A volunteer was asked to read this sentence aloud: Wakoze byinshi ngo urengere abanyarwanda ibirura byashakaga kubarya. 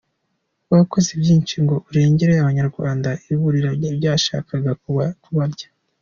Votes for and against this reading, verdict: 2, 1, accepted